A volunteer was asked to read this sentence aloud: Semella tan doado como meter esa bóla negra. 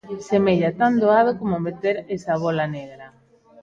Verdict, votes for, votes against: accepted, 2, 0